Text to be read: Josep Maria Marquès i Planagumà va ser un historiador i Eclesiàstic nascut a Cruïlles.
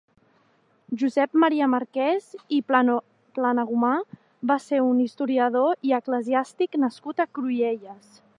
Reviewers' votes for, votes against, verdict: 0, 2, rejected